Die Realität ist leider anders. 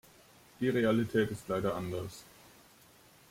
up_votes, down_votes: 2, 0